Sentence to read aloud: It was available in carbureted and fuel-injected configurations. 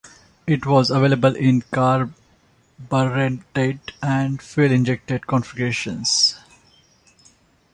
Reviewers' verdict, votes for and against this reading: accepted, 2, 1